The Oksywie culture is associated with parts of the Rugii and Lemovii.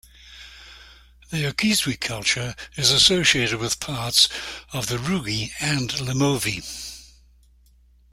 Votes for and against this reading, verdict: 2, 1, accepted